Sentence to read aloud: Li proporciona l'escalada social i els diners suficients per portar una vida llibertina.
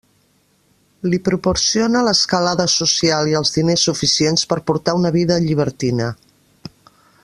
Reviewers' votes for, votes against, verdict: 2, 0, accepted